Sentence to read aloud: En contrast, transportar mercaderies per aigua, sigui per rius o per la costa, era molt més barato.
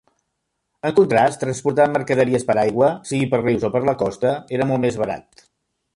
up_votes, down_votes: 2, 0